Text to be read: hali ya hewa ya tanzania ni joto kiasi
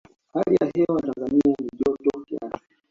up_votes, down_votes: 1, 2